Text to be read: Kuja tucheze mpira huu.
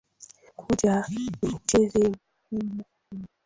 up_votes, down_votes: 0, 2